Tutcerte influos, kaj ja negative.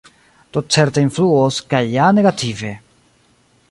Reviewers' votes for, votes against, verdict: 2, 1, accepted